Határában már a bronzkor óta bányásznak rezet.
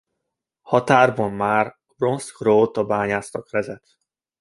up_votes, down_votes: 1, 2